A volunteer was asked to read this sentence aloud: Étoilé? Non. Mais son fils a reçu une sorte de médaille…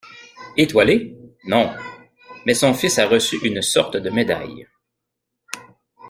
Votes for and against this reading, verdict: 1, 2, rejected